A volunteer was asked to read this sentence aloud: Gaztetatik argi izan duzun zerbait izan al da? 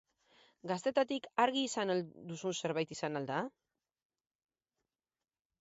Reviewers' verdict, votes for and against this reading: rejected, 2, 4